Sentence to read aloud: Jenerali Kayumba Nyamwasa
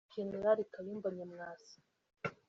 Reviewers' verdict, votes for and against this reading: accepted, 2, 0